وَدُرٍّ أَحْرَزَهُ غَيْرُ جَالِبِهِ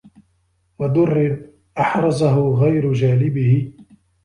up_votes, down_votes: 2, 0